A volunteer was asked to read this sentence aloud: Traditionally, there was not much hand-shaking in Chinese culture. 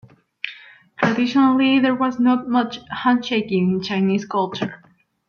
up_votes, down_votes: 2, 1